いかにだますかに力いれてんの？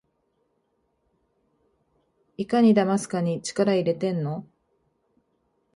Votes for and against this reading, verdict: 3, 1, accepted